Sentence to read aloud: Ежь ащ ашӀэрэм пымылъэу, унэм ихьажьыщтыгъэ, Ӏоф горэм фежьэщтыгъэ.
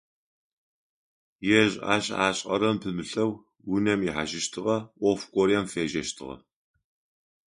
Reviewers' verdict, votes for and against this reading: accepted, 2, 0